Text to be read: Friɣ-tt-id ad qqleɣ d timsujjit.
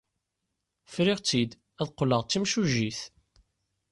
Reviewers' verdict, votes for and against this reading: accepted, 2, 0